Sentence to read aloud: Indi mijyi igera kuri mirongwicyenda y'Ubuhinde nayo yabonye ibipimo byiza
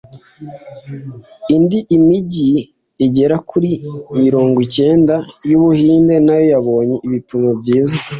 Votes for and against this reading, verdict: 2, 0, accepted